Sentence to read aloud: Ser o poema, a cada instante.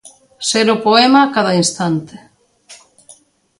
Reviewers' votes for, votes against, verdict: 2, 0, accepted